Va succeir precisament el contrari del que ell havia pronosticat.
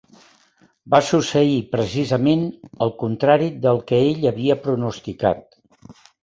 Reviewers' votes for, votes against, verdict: 2, 0, accepted